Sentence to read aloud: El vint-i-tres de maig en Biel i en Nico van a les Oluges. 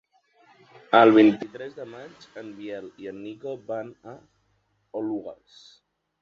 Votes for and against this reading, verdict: 0, 2, rejected